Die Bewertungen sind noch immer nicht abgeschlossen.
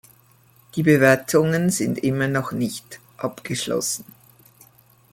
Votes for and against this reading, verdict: 1, 2, rejected